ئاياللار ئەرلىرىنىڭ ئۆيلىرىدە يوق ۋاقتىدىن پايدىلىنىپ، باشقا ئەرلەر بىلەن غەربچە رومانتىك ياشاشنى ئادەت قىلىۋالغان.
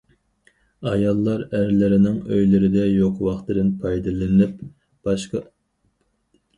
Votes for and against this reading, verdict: 0, 4, rejected